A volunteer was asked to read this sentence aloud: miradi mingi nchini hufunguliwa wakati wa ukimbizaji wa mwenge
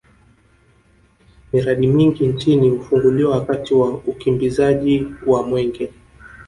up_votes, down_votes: 1, 2